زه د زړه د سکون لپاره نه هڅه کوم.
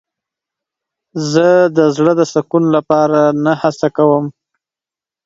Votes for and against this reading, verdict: 2, 0, accepted